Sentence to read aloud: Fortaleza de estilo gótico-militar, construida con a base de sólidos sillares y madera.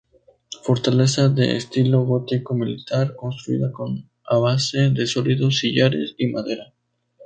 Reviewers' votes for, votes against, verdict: 4, 0, accepted